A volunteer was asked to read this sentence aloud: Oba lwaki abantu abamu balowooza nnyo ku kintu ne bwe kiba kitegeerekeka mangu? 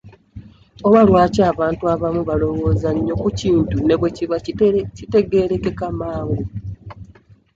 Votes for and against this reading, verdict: 1, 2, rejected